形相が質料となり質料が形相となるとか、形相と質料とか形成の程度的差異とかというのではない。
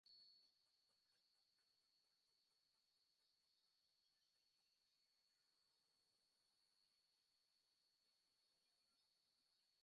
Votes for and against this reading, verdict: 0, 2, rejected